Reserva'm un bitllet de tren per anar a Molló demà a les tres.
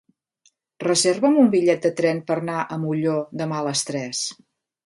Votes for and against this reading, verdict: 1, 2, rejected